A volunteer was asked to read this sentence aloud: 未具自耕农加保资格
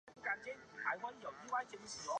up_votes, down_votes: 0, 3